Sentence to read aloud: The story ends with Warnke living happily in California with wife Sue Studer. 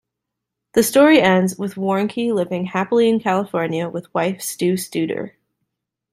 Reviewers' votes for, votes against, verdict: 0, 2, rejected